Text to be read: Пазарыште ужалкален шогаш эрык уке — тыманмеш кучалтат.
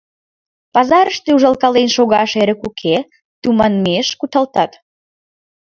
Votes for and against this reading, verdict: 1, 4, rejected